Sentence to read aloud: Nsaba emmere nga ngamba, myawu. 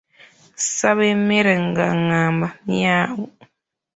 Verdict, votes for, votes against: rejected, 0, 2